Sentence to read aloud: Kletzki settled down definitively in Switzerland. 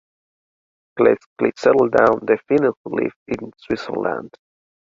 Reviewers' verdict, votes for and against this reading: rejected, 0, 2